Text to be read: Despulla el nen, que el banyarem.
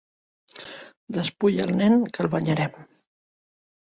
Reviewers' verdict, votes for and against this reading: accepted, 3, 0